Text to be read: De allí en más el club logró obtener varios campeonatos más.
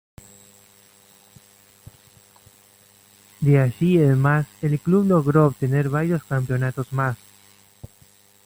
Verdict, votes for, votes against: rejected, 1, 2